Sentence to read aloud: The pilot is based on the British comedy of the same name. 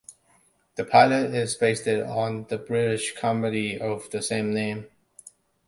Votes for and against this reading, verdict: 3, 2, accepted